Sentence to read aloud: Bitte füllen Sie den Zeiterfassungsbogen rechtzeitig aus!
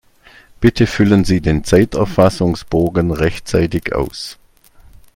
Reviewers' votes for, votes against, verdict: 2, 0, accepted